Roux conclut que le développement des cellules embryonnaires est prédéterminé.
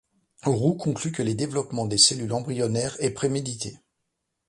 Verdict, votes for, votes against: rejected, 1, 2